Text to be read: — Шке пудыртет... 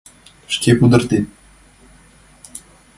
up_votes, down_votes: 2, 0